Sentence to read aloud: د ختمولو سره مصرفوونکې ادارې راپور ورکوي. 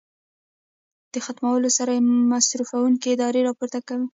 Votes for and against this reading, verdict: 1, 2, rejected